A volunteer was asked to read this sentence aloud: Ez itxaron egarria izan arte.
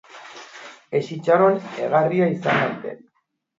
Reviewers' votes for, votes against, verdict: 0, 2, rejected